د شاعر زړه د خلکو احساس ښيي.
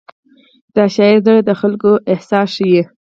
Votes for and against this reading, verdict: 2, 4, rejected